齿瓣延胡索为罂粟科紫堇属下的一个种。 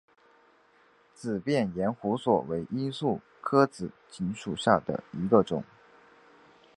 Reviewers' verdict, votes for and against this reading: accepted, 2, 0